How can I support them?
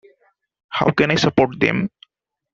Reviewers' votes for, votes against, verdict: 2, 0, accepted